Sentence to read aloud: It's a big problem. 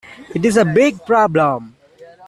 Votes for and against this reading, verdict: 2, 0, accepted